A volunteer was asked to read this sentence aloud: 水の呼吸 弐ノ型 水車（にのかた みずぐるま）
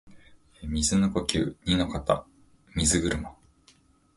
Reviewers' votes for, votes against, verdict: 2, 0, accepted